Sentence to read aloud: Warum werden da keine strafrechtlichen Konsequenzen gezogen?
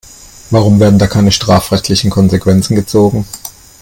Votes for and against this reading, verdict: 2, 0, accepted